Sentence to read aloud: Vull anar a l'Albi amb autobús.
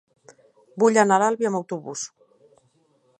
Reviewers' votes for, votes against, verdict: 3, 0, accepted